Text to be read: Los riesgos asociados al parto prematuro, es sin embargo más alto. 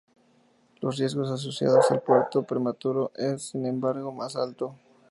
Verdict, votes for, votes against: rejected, 2, 2